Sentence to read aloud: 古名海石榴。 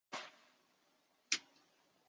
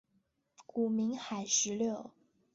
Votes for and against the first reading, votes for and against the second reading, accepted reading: 0, 2, 2, 0, second